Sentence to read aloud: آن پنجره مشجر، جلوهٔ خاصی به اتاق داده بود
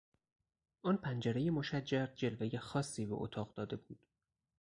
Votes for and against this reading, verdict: 2, 2, rejected